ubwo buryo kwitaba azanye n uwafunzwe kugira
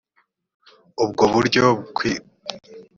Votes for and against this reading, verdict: 0, 3, rejected